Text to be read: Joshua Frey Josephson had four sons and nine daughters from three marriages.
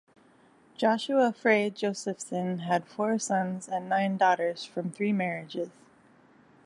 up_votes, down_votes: 2, 0